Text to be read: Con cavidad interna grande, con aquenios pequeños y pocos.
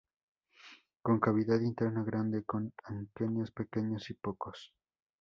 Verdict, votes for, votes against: rejected, 0, 2